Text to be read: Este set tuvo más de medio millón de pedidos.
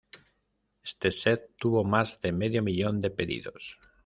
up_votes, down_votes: 2, 0